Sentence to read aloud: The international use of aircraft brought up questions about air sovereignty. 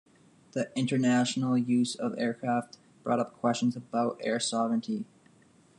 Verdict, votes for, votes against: accepted, 2, 0